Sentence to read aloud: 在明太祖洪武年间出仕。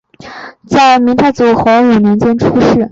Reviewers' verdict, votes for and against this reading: accepted, 2, 1